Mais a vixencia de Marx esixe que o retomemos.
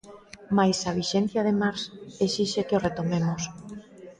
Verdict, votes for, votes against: rejected, 0, 2